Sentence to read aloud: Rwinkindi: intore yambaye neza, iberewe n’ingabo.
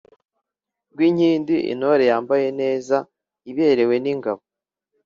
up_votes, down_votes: 2, 0